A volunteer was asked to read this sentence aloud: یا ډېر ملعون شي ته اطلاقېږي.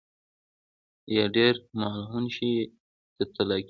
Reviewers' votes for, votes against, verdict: 2, 0, accepted